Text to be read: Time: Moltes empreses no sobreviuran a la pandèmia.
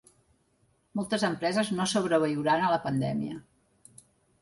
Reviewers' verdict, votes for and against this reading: rejected, 0, 2